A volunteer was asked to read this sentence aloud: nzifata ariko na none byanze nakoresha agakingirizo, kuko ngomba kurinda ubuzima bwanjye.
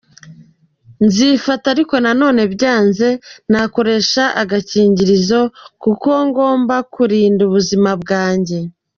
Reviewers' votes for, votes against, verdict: 2, 0, accepted